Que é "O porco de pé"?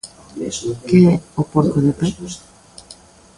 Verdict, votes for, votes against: rejected, 1, 2